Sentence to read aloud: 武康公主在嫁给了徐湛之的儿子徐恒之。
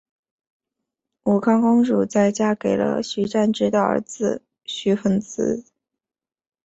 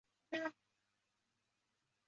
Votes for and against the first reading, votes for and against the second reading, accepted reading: 2, 0, 1, 3, first